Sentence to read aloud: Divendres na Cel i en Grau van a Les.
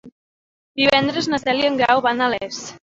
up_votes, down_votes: 1, 2